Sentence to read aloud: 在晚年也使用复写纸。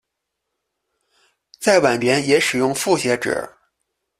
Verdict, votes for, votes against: accepted, 2, 0